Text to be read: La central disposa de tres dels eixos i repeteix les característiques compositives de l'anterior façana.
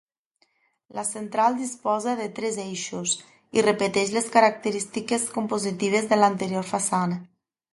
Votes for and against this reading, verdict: 0, 2, rejected